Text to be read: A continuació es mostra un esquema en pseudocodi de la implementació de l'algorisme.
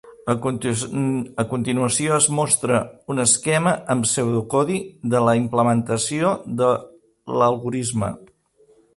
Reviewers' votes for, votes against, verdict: 0, 2, rejected